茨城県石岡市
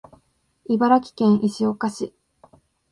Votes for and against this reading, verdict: 2, 0, accepted